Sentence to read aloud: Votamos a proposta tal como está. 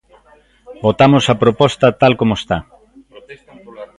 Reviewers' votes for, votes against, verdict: 1, 2, rejected